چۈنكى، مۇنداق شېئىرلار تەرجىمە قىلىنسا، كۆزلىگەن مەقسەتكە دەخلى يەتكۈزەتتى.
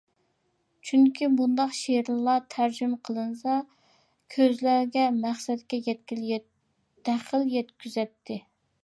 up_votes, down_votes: 0, 2